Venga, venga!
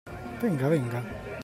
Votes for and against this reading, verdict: 2, 0, accepted